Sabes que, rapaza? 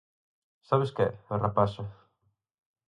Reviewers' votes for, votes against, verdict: 2, 4, rejected